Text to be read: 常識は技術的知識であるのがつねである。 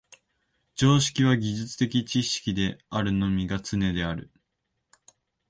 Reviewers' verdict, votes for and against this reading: rejected, 1, 2